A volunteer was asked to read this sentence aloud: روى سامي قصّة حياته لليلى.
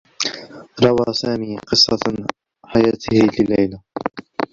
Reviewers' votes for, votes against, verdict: 1, 2, rejected